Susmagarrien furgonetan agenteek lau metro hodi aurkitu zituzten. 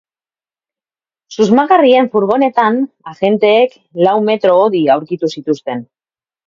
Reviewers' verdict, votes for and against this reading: accepted, 2, 0